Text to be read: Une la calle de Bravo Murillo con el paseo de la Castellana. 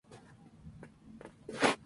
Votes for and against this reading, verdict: 0, 4, rejected